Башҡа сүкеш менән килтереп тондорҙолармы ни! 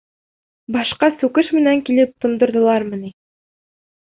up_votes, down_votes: 1, 2